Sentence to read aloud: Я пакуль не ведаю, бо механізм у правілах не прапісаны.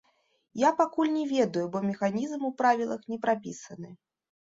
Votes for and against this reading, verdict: 2, 0, accepted